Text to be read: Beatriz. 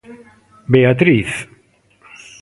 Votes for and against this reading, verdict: 1, 2, rejected